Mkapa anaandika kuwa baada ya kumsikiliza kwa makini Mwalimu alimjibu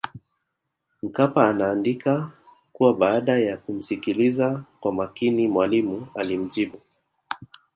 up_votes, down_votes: 2, 3